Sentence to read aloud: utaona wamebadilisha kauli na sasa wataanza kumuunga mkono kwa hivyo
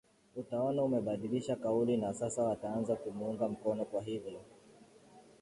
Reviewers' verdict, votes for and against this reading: accepted, 3, 0